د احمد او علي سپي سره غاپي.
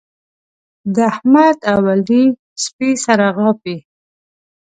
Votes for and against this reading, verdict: 2, 0, accepted